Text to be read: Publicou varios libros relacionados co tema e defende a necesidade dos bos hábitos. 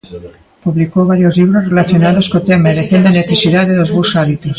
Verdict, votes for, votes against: rejected, 1, 2